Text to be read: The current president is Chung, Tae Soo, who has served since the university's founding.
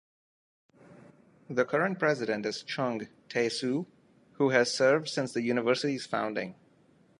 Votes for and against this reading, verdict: 2, 0, accepted